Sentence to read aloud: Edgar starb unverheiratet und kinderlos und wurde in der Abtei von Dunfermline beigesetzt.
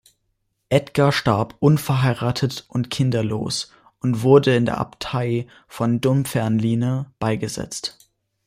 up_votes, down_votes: 2, 0